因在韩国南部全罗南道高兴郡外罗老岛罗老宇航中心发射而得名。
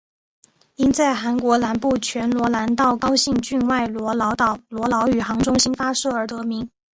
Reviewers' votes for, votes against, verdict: 2, 0, accepted